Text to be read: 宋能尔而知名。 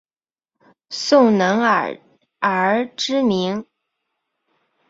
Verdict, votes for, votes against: accepted, 2, 1